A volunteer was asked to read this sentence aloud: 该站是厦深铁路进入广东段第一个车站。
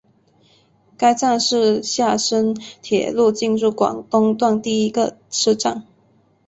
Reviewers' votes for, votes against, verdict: 2, 1, accepted